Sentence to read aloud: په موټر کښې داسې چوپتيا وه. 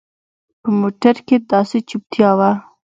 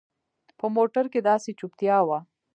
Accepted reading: first